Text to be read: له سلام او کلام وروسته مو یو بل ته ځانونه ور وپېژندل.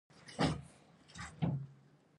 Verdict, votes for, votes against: rejected, 1, 2